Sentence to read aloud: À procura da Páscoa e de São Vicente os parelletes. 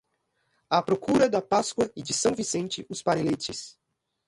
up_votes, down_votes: 2, 0